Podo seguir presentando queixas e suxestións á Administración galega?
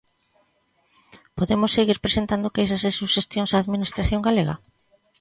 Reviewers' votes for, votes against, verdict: 0, 2, rejected